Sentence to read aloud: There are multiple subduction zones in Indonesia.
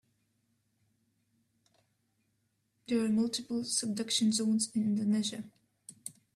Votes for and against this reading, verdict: 1, 2, rejected